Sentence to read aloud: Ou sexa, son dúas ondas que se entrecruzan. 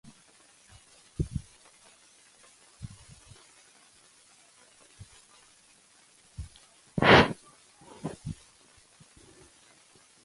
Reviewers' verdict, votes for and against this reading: rejected, 0, 2